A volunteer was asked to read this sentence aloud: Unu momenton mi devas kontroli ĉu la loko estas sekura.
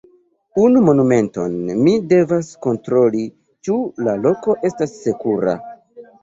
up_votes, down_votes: 1, 2